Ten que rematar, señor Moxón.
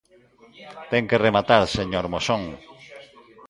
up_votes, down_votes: 1, 2